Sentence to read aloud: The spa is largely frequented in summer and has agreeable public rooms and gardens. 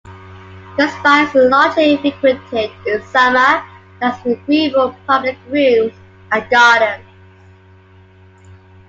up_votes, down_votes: 1, 2